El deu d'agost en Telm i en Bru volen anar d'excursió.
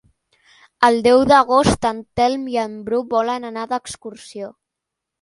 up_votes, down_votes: 4, 0